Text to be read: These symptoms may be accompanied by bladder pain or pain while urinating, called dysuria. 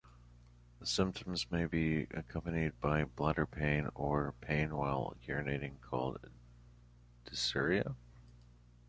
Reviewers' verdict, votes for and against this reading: rejected, 1, 2